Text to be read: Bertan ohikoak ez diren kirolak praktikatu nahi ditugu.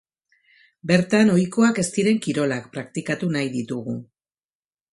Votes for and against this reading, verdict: 2, 0, accepted